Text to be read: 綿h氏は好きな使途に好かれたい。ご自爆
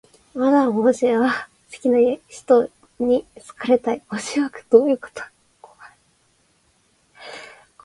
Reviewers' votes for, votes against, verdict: 0, 3, rejected